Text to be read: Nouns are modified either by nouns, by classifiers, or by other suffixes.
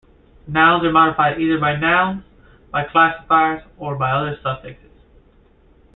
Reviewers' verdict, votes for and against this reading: accepted, 2, 0